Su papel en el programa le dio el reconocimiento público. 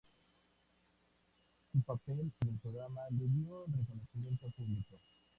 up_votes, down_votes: 0, 2